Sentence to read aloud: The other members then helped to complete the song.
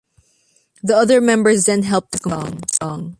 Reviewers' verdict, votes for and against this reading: rejected, 0, 2